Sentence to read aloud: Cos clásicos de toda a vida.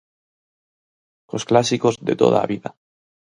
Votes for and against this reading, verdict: 4, 0, accepted